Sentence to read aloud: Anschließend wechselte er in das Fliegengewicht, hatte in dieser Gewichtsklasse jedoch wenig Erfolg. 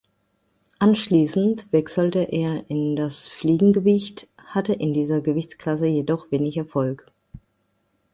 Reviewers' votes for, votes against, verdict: 2, 0, accepted